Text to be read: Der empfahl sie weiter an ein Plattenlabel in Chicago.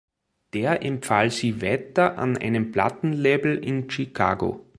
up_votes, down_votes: 1, 2